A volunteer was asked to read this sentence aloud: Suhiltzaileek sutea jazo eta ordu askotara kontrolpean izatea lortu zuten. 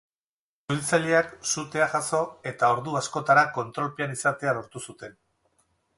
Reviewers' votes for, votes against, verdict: 2, 4, rejected